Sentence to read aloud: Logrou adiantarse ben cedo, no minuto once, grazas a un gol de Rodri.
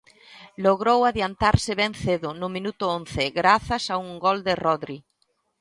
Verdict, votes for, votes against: accepted, 3, 0